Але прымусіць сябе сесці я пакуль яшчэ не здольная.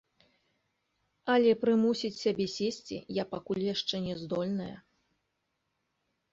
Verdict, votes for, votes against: accepted, 2, 0